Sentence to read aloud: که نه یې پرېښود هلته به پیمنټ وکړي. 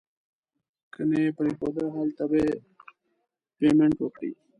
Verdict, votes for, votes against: rejected, 1, 2